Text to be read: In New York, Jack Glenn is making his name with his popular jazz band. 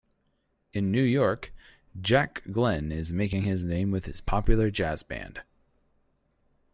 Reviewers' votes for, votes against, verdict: 4, 0, accepted